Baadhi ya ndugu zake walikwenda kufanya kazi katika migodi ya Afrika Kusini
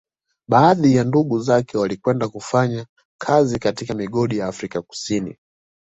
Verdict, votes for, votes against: accepted, 2, 0